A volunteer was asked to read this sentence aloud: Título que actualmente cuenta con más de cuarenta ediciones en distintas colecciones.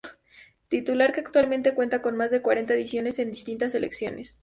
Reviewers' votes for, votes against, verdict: 0, 2, rejected